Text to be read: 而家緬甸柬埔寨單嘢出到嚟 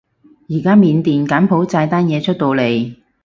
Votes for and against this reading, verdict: 4, 0, accepted